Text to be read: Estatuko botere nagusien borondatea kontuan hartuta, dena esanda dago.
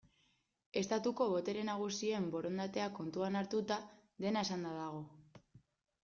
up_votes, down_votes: 2, 0